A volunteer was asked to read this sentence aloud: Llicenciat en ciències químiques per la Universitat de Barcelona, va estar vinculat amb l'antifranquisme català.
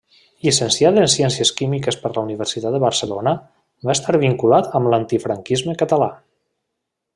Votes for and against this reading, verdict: 3, 0, accepted